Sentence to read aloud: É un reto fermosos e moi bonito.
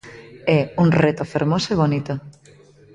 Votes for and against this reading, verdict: 1, 2, rejected